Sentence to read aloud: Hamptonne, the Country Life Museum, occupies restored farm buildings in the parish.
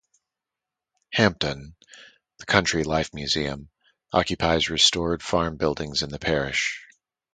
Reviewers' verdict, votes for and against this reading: accepted, 4, 0